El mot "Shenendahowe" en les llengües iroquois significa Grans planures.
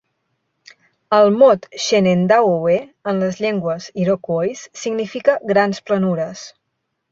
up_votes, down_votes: 2, 0